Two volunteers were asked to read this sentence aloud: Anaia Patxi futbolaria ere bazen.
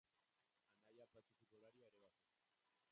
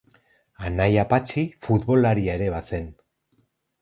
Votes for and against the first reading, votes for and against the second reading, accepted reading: 0, 4, 4, 2, second